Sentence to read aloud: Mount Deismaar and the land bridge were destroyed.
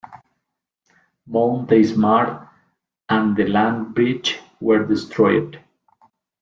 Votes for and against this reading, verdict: 3, 0, accepted